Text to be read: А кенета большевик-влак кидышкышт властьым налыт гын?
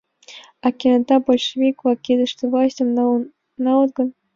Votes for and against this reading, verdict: 1, 2, rejected